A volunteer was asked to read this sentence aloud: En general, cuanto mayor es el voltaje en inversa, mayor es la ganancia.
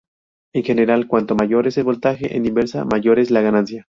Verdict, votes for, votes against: rejected, 0, 2